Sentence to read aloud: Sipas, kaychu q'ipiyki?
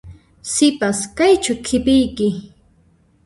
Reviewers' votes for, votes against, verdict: 2, 3, rejected